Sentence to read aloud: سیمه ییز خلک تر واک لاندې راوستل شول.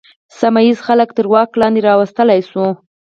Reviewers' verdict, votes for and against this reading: rejected, 2, 4